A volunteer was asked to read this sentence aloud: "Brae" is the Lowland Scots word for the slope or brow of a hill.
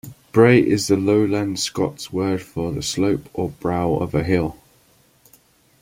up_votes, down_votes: 2, 0